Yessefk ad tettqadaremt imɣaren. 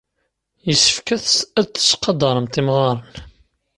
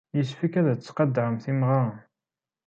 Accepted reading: second